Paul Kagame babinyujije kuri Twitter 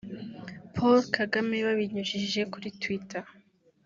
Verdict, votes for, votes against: accepted, 2, 0